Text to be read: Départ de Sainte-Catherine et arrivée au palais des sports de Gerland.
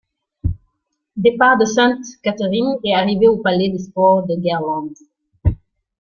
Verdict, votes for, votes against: rejected, 1, 2